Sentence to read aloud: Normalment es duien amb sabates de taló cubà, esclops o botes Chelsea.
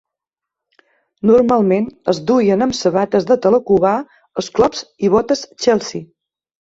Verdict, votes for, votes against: rejected, 1, 2